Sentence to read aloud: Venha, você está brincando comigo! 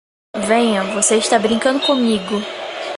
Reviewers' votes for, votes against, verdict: 4, 0, accepted